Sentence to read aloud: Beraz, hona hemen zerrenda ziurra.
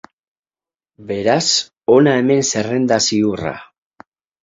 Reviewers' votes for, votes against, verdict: 4, 0, accepted